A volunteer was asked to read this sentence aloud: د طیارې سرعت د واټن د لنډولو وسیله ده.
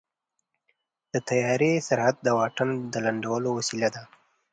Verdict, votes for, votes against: accepted, 2, 0